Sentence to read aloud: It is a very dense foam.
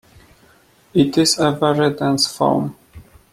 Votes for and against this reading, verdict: 2, 0, accepted